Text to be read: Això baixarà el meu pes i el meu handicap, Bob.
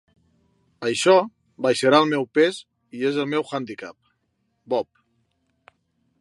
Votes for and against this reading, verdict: 0, 2, rejected